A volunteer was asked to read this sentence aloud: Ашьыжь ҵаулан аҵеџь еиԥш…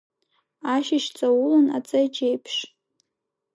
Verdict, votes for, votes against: accepted, 2, 0